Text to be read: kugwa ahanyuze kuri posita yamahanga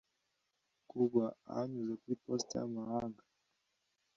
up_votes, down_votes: 2, 0